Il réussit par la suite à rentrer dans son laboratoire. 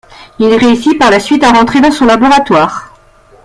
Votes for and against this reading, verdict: 2, 0, accepted